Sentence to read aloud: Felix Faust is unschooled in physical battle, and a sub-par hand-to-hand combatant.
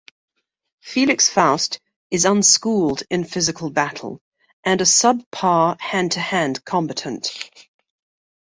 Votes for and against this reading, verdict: 2, 0, accepted